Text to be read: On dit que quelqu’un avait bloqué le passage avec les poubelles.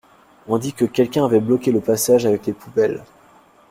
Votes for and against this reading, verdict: 2, 0, accepted